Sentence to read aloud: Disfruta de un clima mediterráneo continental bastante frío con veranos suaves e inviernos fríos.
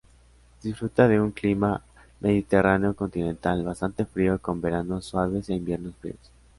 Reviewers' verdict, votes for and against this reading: accepted, 2, 0